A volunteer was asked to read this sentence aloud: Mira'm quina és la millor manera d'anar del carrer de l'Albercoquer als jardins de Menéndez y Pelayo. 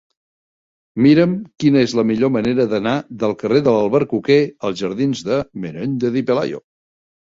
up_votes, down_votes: 2, 0